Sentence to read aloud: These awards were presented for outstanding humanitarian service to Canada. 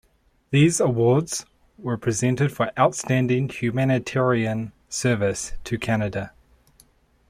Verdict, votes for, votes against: accepted, 3, 0